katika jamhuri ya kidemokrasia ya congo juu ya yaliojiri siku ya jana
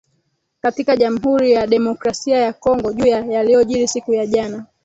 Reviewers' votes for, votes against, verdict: 1, 2, rejected